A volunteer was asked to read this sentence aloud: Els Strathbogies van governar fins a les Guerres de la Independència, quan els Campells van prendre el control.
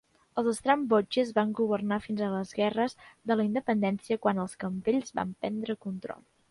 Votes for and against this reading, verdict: 0, 2, rejected